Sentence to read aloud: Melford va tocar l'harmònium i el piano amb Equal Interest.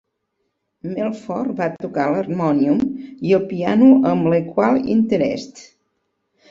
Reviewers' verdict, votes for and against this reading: rejected, 1, 2